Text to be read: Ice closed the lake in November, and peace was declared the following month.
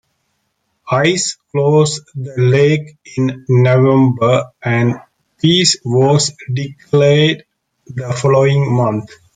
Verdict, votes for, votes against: accepted, 2, 1